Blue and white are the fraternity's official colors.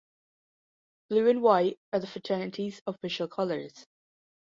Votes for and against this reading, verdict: 2, 0, accepted